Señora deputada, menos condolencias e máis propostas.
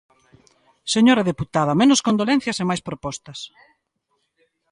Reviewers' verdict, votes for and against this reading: accepted, 2, 0